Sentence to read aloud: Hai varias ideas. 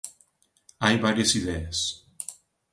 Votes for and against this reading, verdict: 2, 0, accepted